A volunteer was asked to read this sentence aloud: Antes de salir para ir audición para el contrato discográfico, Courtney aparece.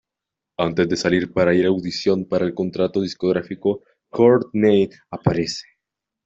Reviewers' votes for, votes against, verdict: 2, 1, accepted